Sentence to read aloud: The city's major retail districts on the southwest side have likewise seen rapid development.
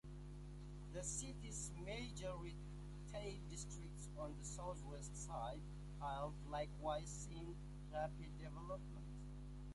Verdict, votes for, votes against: rejected, 0, 2